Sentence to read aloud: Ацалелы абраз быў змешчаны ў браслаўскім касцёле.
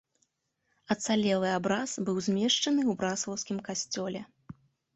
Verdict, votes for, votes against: accepted, 2, 0